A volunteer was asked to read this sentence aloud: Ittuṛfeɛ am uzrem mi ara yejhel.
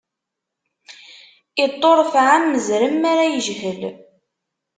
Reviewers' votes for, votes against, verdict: 1, 2, rejected